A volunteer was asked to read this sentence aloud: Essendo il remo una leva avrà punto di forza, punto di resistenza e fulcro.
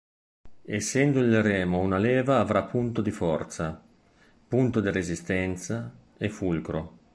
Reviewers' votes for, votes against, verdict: 2, 0, accepted